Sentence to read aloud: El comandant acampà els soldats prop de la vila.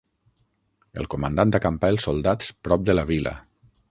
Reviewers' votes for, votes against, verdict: 3, 6, rejected